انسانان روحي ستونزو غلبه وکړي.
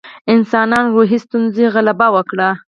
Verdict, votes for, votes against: rejected, 2, 4